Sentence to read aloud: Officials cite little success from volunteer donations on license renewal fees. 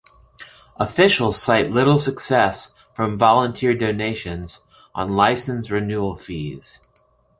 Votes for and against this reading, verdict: 2, 0, accepted